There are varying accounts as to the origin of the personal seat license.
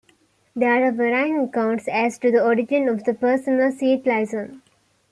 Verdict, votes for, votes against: accepted, 2, 1